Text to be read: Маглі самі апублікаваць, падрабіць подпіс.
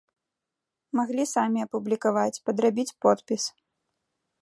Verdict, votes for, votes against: accepted, 2, 0